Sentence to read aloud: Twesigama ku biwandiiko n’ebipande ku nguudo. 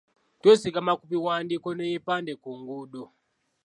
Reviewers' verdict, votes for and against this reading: accepted, 2, 1